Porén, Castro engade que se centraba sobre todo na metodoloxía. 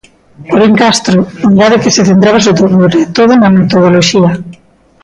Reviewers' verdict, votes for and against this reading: rejected, 0, 2